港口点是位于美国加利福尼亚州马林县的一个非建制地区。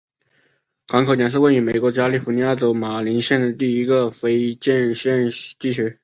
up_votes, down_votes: 2, 0